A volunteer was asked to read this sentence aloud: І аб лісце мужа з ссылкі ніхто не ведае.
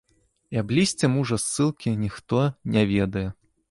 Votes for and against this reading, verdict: 1, 3, rejected